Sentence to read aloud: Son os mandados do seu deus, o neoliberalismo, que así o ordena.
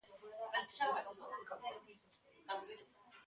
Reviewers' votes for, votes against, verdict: 0, 2, rejected